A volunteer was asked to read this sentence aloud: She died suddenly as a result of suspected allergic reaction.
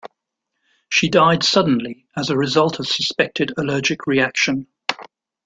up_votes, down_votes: 2, 0